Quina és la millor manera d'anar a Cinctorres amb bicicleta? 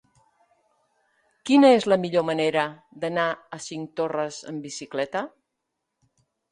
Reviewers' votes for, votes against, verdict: 2, 0, accepted